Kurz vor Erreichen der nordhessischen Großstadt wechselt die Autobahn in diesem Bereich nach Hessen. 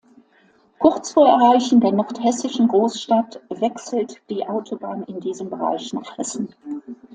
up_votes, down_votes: 2, 0